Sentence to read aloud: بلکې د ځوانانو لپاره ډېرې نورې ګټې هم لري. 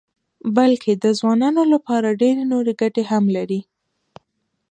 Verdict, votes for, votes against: rejected, 1, 2